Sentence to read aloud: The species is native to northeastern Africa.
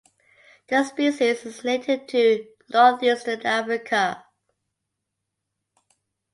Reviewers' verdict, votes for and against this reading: accepted, 2, 1